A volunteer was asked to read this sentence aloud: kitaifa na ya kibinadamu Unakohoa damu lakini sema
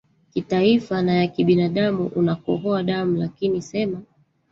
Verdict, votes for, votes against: rejected, 1, 2